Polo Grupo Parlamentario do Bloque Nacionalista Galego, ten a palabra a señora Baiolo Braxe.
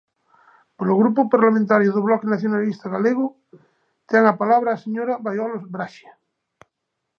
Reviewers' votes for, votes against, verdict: 2, 0, accepted